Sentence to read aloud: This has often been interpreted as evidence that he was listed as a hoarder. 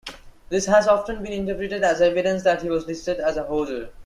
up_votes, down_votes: 1, 2